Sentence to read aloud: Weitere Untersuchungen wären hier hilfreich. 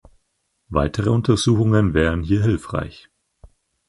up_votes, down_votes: 4, 0